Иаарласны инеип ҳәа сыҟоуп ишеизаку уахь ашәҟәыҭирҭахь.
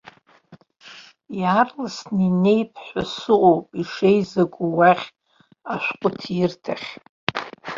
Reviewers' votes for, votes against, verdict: 2, 1, accepted